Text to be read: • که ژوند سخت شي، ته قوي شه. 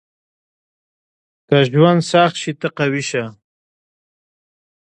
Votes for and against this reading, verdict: 2, 0, accepted